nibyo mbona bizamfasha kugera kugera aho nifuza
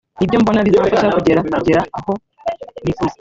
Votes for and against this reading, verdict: 1, 2, rejected